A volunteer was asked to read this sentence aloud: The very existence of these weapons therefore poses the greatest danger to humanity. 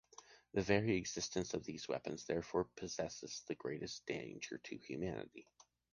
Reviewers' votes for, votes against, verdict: 0, 2, rejected